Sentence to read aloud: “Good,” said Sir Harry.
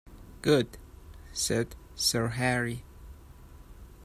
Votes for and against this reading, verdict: 2, 0, accepted